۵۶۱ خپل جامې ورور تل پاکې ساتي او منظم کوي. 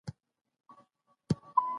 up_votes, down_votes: 0, 2